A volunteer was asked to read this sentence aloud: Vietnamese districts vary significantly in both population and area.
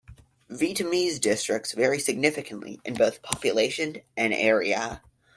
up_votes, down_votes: 0, 2